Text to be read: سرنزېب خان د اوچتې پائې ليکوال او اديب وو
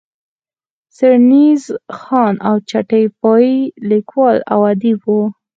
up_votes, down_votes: 2, 4